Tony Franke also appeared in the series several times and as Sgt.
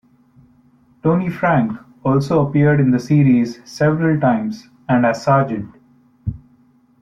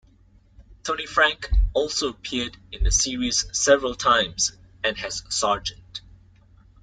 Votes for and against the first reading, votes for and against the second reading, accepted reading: 2, 0, 1, 2, first